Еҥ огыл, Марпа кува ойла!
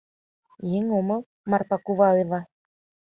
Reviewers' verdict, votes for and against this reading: rejected, 1, 2